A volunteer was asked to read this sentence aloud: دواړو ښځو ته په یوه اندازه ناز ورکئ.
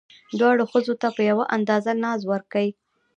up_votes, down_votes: 2, 0